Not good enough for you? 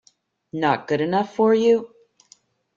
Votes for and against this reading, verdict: 2, 0, accepted